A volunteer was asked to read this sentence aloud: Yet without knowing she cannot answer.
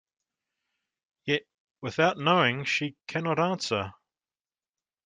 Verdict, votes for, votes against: accepted, 2, 0